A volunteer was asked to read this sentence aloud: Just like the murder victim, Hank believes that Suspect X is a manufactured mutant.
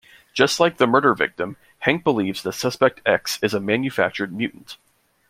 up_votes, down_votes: 2, 0